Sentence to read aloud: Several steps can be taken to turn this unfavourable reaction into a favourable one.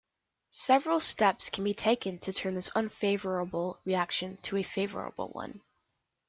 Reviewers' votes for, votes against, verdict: 2, 0, accepted